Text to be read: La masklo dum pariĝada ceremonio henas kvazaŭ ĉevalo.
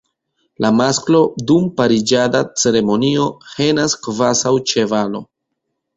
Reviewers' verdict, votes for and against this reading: accepted, 2, 1